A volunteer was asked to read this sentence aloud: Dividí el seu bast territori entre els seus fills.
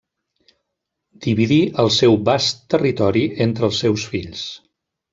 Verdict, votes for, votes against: accepted, 2, 0